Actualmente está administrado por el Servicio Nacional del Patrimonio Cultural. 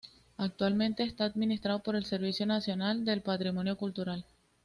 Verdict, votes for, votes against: accepted, 2, 0